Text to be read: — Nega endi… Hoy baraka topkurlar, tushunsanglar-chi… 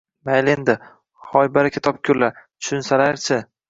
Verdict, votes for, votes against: rejected, 1, 2